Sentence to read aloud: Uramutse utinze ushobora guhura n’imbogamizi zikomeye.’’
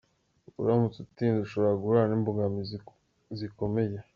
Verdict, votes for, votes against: accepted, 2, 0